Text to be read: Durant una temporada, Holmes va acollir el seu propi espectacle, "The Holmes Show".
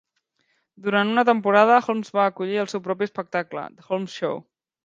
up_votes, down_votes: 1, 2